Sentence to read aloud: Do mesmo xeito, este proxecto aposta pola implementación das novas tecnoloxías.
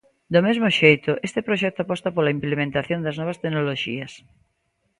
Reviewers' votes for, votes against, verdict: 2, 0, accepted